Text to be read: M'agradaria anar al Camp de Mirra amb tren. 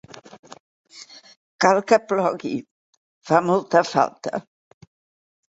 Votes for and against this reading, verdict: 1, 3, rejected